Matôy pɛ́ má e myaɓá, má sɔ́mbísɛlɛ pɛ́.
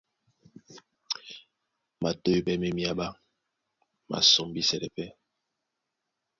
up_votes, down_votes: 2, 0